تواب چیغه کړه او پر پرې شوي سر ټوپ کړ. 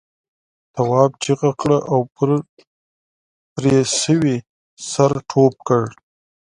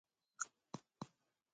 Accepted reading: first